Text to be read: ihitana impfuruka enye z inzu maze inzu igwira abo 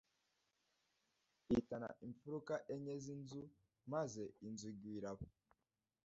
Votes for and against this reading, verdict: 1, 2, rejected